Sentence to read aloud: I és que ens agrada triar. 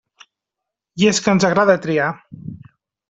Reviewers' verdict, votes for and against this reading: accepted, 3, 0